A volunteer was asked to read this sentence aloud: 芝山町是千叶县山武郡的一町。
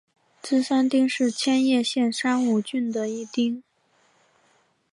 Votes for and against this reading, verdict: 4, 0, accepted